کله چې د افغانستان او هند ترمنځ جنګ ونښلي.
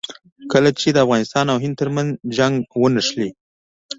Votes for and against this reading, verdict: 2, 0, accepted